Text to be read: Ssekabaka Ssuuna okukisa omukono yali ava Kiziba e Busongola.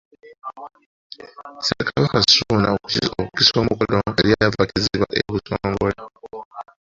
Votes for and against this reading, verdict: 0, 2, rejected